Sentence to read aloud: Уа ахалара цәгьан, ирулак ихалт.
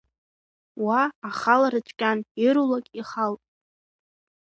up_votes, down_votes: 2, 0